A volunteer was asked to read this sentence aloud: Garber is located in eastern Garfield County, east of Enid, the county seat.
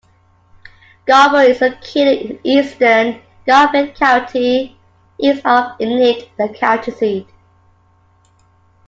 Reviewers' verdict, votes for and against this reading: rejected, 0, 2